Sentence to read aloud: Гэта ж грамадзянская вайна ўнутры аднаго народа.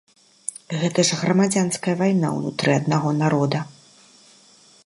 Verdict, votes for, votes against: accepted, 2, 0